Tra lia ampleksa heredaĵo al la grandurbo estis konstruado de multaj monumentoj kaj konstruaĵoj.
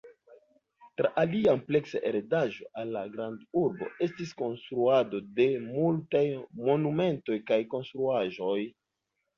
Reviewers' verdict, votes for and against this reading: accepted, 2, 1